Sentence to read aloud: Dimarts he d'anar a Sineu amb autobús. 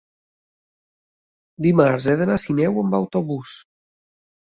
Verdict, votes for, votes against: accepted, 3, 0